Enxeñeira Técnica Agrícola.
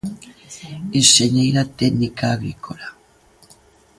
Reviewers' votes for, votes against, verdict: 0, 2, rejected